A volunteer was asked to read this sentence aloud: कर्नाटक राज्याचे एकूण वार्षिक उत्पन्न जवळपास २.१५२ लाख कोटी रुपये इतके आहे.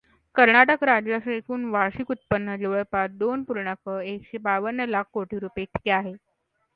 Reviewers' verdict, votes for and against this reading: rejected, 0, 2